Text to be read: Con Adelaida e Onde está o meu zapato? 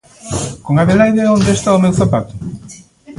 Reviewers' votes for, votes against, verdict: 2, 0, accepted